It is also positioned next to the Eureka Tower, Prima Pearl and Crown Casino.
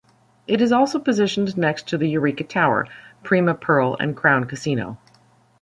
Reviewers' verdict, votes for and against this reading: accepted, 2, 0